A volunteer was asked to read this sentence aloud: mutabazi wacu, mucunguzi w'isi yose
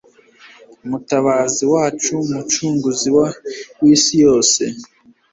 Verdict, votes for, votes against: rejected, 1, 2